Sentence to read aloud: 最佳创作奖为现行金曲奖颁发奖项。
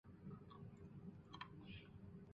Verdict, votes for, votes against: rejected, 0, 3